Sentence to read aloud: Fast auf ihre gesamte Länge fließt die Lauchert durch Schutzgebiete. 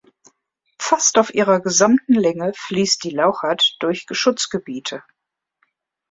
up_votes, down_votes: 1, 2